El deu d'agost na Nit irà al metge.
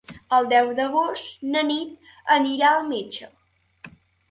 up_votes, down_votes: 1, 3